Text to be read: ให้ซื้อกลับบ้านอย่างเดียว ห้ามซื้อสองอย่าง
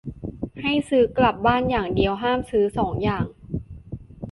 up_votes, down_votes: 2, 0